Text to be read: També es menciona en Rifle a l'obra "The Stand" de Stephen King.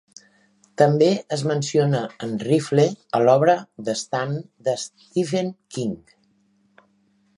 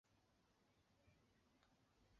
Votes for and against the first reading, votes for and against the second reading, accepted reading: 2, 1, 1, 2, first